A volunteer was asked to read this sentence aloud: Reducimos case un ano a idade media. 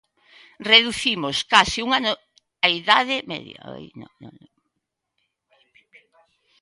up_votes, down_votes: 1, 2